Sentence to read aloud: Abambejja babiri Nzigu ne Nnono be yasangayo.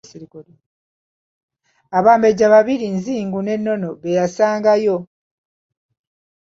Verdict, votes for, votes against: rejected, 1, 2